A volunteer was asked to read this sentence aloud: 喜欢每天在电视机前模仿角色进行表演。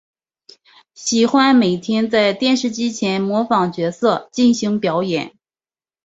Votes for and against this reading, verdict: 2, 0, accepted